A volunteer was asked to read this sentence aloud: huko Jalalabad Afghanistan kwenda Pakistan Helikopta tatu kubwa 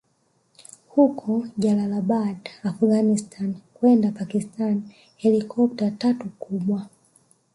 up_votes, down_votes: 0, 2